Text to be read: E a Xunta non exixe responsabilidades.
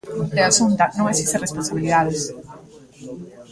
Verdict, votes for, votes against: rejected, 1, 2